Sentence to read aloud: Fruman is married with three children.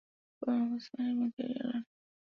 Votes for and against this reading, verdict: 0, 2, rejected